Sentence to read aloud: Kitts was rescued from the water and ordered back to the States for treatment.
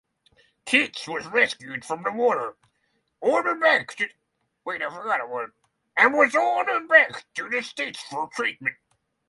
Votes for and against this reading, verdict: 0, 6, rejected